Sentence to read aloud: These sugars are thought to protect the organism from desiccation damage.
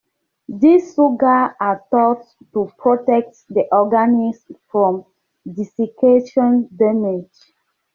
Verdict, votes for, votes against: rejected, 0, 2